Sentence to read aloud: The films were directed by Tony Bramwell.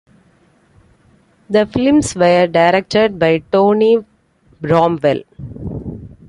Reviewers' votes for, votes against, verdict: 1, 3, rejected